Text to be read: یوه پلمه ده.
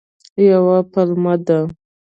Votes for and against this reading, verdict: 2, 0, accepted